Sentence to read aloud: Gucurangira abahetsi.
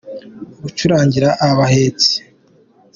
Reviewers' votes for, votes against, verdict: 2, 0, accepted